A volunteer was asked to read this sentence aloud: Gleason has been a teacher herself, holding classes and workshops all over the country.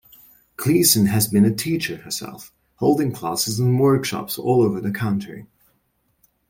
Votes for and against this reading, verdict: 2, 0, accepted